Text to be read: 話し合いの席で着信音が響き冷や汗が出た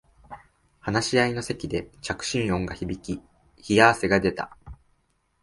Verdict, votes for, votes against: accepted, 2, 1